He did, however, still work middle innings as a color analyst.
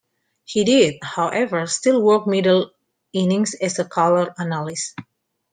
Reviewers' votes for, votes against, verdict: 2, 0, accepted